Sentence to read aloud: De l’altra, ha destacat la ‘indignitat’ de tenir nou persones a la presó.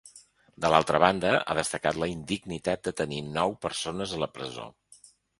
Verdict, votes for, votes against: rejected, 1, 3